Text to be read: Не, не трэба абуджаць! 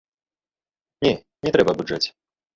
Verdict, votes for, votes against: rejected, 1, 3